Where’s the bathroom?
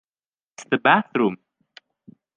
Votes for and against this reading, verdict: 0, 3, rejected